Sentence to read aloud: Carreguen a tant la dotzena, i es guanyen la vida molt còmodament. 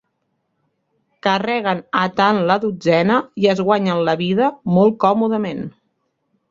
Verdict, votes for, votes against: accepted, 4, 0